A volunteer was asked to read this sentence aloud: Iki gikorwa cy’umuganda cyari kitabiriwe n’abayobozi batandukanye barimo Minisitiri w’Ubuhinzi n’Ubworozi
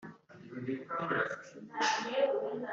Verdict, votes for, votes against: rejected, 0, 3